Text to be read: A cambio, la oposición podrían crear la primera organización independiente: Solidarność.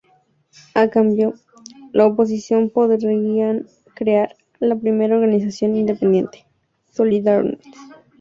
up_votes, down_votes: 0, 2